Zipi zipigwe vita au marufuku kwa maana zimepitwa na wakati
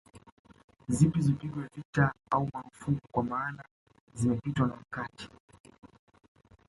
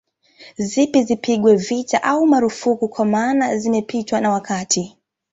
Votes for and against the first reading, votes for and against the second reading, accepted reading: 0, 2, 2, 0, second